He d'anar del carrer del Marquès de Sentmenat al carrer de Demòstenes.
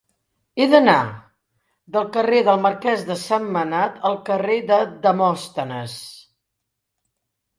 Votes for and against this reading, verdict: 2, 0, accepted